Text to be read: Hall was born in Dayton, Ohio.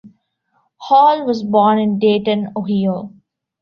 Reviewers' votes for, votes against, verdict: 1, 2, rejected